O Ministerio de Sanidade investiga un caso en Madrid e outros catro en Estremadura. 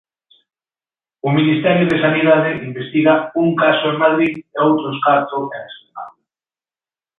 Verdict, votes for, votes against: rejected, 1, 2